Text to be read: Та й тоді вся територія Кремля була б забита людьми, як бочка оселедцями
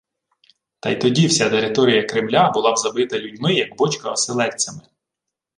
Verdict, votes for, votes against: accepted, 2, 1